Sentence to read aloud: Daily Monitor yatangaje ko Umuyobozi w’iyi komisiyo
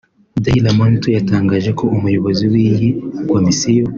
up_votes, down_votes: 2, 0